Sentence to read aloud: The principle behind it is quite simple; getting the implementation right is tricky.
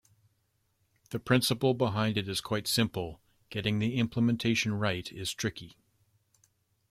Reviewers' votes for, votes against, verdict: 2, 0, accepted